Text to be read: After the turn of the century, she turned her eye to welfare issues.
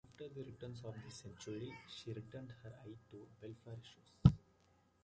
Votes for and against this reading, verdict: 2, 0, accepted